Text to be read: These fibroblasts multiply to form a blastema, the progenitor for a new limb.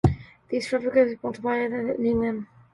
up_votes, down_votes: 0, 2